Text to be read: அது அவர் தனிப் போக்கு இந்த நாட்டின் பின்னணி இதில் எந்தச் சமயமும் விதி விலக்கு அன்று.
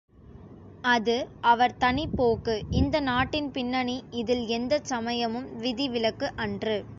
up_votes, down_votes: 2, 0